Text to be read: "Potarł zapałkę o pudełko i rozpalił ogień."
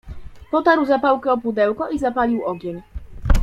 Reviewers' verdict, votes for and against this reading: rejected, 0, 2